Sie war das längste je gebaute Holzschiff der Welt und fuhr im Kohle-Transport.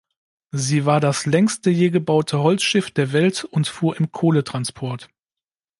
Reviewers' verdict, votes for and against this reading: accepted, 2, 0